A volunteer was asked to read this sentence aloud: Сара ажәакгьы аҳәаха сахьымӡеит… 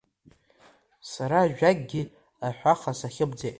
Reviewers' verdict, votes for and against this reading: accepted, 2, 0